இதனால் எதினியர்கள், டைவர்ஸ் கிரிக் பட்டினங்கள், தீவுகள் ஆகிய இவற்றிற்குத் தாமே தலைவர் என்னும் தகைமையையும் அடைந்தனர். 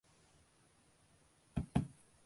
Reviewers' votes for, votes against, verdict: 0, 2, rejected